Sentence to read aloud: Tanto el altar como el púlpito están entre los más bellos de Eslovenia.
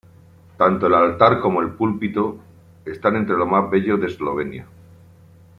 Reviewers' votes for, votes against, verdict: 1, 2, rejected